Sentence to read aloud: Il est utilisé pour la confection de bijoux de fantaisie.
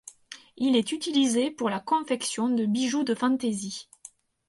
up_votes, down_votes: 4, 0